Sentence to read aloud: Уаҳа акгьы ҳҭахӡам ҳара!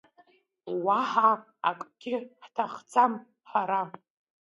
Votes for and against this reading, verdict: 2, 0, accepted